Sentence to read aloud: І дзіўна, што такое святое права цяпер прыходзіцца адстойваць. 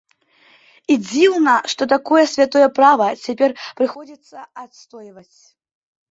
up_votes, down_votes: 2, 0